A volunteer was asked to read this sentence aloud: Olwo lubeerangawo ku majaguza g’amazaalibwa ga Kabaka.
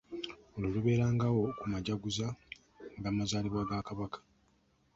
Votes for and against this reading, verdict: 2, 0, accepted